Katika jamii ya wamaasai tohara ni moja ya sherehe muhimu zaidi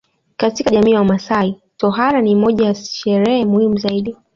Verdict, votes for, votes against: accepted, 2, 0